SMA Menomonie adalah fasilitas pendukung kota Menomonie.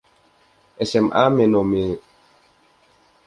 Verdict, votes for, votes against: rejected, 0, 2